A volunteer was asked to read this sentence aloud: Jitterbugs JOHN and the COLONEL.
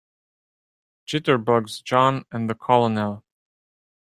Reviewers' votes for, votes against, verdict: 2, 0, accepted